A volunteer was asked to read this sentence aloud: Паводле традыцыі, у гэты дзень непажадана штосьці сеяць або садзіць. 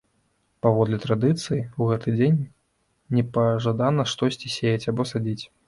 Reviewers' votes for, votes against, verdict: 0, 2, rejected